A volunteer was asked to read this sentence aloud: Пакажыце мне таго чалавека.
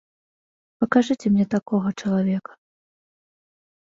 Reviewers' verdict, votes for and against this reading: rejected, 0, 2